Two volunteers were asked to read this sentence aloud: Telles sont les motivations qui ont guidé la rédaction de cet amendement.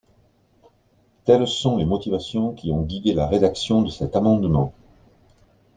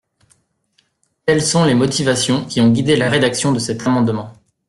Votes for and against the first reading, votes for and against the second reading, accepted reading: 2, 0, 1, 2, first